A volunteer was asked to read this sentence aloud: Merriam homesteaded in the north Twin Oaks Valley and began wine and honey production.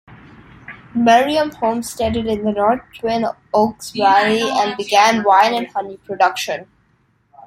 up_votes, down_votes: 1, 2